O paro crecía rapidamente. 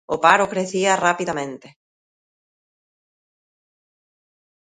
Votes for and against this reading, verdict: 2, 0, accepted